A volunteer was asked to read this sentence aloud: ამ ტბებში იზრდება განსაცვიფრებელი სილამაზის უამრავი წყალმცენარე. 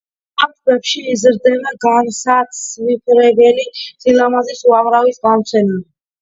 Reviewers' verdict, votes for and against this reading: accepted, 2, 0